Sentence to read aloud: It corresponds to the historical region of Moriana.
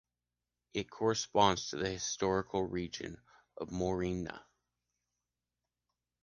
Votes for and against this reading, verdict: 2, 1, accepted